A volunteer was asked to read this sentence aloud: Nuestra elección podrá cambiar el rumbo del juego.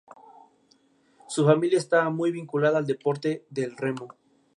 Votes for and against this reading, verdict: 0, 2, rejected